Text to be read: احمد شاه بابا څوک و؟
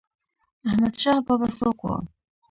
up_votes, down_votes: 0, 2